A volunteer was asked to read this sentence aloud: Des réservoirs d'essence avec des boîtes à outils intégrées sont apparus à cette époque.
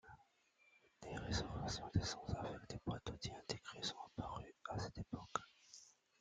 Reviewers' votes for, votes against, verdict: 2, 1, accepted